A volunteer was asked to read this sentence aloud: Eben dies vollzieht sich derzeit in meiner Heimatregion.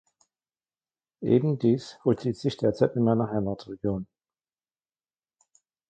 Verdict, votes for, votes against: accepted, 2, 0